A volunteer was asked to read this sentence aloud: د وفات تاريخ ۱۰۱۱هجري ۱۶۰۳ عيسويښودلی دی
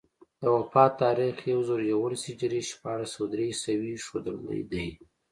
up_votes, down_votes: 0, 2